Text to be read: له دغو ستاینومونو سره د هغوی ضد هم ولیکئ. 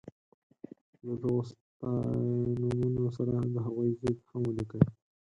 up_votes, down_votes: 0, 4